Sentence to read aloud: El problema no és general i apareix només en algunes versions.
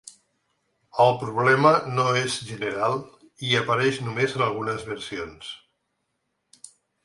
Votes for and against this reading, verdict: 1, 2, rejected